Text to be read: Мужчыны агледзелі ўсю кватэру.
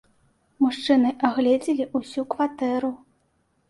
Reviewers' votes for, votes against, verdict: 2, 0, accepted